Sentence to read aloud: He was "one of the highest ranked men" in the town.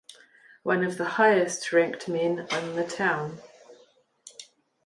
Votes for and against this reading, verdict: 0, 2, rejected